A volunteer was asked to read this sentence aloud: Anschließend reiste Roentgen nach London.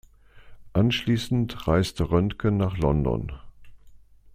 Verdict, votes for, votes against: accepted, 2, 0